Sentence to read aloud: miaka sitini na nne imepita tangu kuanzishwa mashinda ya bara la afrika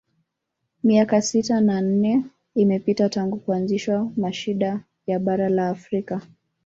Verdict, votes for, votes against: rejected, 1, 2